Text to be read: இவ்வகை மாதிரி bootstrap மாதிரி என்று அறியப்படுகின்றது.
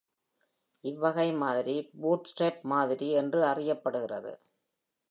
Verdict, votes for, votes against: accepted, 2, 0